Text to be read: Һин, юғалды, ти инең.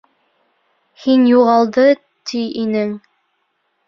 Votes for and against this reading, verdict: 1, 2, rejected